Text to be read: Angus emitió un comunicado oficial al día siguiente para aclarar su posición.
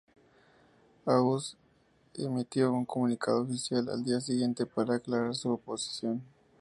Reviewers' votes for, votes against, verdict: 2, 0, accepted